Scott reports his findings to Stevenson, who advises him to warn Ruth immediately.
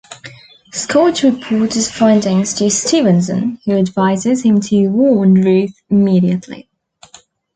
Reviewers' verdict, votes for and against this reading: accepted, 3, 0